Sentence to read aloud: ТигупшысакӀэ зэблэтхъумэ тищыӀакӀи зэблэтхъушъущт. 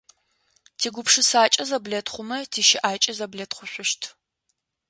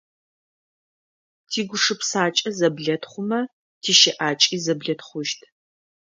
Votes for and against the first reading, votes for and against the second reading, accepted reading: 2, 0, 1, 2, first